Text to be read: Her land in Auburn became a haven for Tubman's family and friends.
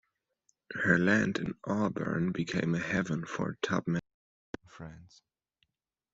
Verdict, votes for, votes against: rejected, 1, 2